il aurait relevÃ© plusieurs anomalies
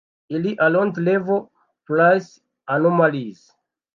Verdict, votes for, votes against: rejected, 1, 2